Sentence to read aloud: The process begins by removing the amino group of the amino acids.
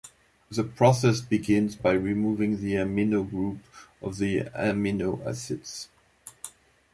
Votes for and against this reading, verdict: 2, 0, accepted